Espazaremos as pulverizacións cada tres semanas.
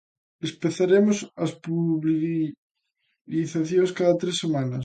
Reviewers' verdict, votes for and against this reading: rejected, 0, 2